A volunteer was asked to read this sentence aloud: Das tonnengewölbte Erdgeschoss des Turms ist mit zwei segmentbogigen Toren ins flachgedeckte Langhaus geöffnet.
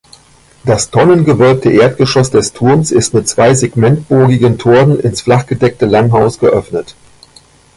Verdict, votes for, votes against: accepted, 2, 0